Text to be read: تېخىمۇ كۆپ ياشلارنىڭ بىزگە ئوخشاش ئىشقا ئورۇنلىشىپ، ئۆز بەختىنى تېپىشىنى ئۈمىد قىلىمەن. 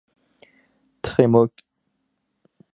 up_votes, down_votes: 0, 4